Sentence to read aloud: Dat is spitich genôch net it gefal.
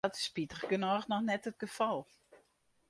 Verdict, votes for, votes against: rejected, 0, 2